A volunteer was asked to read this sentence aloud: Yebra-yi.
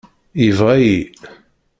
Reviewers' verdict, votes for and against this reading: rejected, 0, 2